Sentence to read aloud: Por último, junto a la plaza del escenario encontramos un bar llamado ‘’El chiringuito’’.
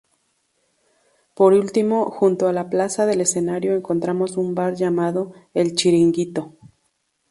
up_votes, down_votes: 2, 0